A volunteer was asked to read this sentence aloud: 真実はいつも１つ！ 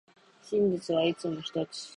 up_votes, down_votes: 0, 2